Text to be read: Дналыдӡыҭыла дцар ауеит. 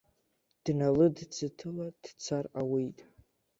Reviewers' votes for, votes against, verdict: 2, 0, accepted